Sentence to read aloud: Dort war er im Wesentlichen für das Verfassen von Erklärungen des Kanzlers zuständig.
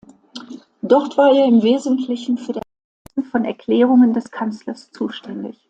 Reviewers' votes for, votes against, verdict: 1, 2, rejected